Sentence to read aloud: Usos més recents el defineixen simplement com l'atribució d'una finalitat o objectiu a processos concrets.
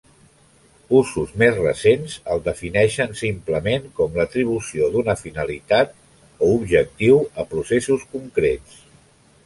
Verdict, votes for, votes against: accepted, 2, 0